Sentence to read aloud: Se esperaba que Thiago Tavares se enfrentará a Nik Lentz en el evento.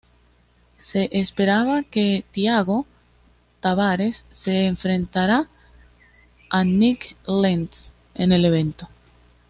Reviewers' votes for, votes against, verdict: 2, 0, accepted